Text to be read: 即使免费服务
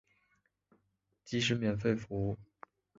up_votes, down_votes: 1, 2